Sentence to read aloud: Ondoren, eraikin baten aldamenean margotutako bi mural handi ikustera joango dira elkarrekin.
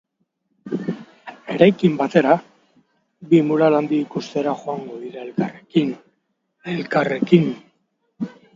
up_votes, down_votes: 0, 4